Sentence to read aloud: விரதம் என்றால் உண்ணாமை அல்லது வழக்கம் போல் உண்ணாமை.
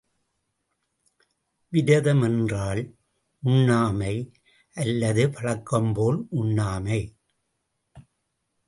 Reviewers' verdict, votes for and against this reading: rejected, 0, 2